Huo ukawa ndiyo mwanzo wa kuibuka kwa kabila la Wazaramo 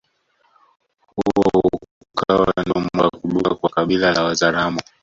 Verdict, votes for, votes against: rejected, 1, 2